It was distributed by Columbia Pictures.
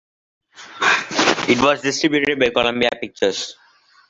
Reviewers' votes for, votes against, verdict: 2, 1, accepted